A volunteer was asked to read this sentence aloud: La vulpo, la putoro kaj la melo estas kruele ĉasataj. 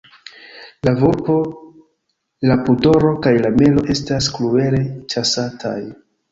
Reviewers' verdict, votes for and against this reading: rejected, 1, 2